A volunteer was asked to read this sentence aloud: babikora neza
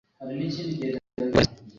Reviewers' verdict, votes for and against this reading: rejected, 1, 2